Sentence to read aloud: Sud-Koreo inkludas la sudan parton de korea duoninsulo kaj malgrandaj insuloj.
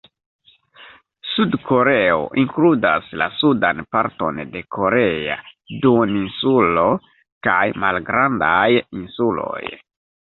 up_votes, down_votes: 2, 1